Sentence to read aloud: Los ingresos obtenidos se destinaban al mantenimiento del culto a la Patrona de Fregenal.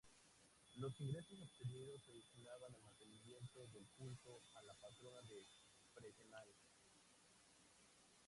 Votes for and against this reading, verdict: 0, 2, rejected